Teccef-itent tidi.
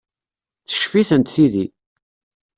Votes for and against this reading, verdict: 2, 0, accepted